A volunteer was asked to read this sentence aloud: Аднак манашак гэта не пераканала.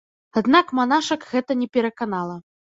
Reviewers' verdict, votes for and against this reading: accepted, 2, 0